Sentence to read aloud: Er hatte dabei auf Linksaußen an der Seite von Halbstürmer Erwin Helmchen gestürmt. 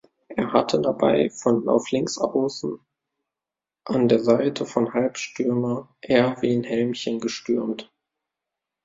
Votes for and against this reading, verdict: 0, 2, rejected